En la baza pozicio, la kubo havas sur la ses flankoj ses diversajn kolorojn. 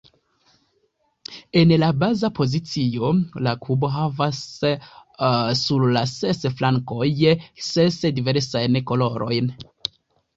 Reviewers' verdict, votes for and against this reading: accepted, 2, 1